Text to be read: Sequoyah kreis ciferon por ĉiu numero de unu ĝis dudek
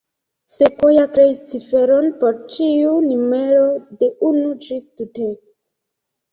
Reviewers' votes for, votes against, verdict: 1, 2, rejected